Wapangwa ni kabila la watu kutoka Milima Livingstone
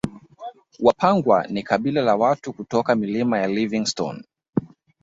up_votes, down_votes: 3, 1